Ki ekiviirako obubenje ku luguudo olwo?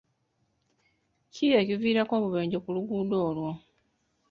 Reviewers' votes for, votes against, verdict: 2, 0, accepted